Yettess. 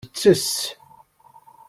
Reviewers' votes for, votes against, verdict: 1, 2, rejected